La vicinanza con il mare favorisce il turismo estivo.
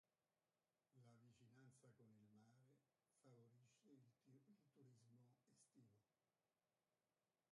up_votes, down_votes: 0, 2